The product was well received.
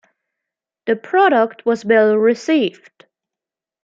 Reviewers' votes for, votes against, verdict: 2, 0, accepted